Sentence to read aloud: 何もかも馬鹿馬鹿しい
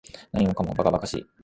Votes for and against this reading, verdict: 2, 0, accepted